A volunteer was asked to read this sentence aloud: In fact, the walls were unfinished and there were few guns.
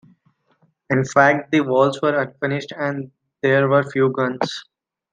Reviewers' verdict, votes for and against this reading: accepted, 2, 0